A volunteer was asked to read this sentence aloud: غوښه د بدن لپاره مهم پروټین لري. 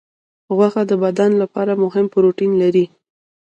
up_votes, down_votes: 1, 2